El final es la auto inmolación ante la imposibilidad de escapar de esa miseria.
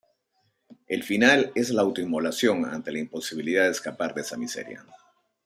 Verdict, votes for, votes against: accepted, 2, 0